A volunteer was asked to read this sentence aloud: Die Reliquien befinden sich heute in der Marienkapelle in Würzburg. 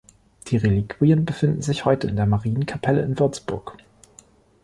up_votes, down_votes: 2, 0